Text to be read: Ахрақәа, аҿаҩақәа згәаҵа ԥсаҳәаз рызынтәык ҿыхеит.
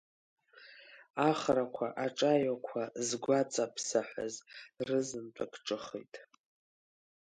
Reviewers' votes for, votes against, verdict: 4, 1, accepted